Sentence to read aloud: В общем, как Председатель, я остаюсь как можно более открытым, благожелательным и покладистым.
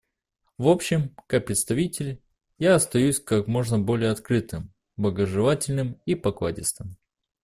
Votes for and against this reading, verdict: 1, 2, rejected